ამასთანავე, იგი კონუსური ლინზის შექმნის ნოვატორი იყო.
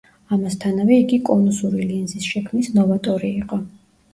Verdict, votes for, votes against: accepted, 2, 0